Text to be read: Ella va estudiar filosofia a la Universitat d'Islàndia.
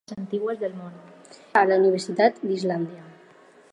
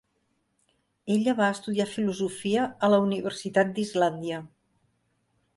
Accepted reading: second